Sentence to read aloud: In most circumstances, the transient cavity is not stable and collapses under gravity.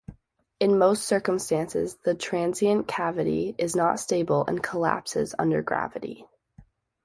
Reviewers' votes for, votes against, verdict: 2, 0, accepted